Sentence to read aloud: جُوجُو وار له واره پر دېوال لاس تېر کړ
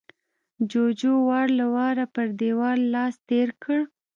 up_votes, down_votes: 2, 0